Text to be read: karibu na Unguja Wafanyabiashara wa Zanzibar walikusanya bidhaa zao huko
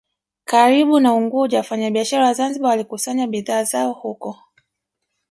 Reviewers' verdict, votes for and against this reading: rejected, 1, 2